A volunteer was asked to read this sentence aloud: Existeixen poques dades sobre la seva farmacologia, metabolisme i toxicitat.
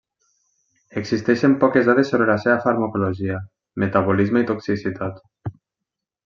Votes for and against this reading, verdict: 1, 2, rejected